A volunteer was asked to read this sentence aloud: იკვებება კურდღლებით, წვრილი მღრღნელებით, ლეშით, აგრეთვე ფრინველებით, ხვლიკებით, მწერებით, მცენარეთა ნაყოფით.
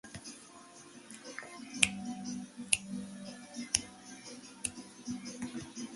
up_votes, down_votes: 0, 2